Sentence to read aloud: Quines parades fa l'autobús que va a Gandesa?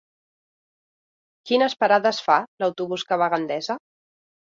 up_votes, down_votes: 4, 0